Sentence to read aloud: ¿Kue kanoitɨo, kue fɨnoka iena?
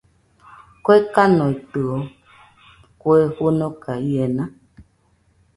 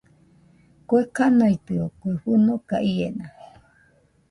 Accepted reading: first